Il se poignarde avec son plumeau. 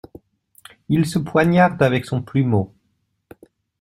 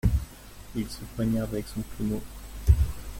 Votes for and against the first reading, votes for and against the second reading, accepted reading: 2, 0, 1, 2, first